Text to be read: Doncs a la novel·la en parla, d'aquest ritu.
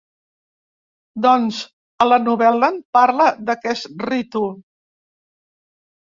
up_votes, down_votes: 0, 2